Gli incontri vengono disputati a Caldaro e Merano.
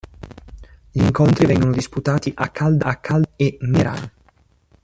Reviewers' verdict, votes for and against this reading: rejected, 0, 2